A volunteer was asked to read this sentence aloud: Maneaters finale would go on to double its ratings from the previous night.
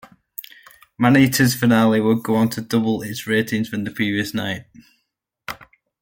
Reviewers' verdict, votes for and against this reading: accepted, 2, 0